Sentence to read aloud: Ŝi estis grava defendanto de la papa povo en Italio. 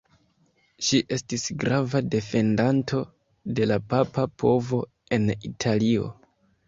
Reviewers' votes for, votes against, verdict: 2, 0, accepted